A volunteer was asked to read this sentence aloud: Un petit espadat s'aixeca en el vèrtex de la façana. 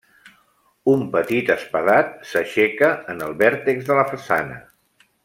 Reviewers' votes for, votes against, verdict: 3, 0, accepted